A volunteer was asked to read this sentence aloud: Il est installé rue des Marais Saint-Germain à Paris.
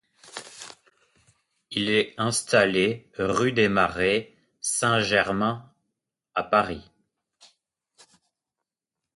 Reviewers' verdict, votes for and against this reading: accepted, 2, 0